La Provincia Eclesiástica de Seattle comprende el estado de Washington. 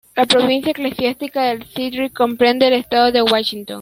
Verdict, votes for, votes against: rejected, 0, 2